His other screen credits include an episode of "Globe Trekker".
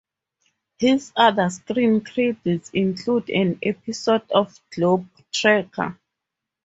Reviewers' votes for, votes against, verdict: 2, 4, rejected